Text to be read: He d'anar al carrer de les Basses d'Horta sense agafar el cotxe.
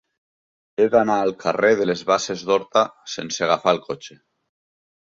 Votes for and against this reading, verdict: 5, 0, accepted